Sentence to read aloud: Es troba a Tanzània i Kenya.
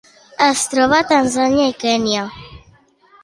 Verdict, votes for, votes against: accepted, 2, 0